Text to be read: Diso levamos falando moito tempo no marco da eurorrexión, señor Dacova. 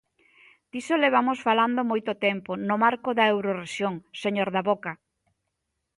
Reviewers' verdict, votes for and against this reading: rejected, 0, 2